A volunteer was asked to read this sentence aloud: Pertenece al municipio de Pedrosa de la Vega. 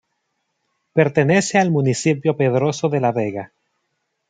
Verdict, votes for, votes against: rejected, 1, 2